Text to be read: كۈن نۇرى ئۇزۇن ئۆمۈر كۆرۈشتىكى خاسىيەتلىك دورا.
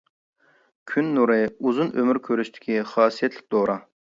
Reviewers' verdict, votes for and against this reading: accepted, 2, 0